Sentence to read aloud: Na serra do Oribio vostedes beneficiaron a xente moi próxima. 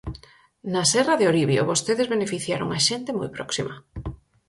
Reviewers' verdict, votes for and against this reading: rejected, 2, 4